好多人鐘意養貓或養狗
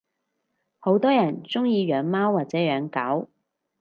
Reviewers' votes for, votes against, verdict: 2, 4, rejected